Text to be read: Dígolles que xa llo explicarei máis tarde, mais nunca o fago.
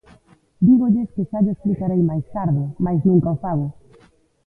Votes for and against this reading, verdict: 0, 2, rejected